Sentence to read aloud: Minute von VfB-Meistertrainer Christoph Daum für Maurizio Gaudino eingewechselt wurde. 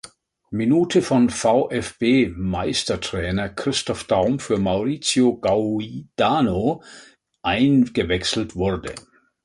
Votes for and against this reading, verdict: 1, 2, rejected